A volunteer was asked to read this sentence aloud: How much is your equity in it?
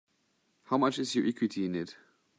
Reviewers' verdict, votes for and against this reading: rejected, 1, 2